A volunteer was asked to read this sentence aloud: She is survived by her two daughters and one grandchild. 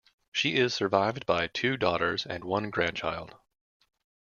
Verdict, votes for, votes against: rejected, 1, 2